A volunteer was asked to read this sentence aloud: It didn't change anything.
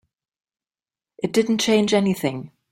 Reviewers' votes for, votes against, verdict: 2, 1, accepted